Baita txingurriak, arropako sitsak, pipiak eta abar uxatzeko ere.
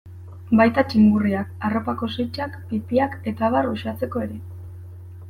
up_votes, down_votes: 2, 0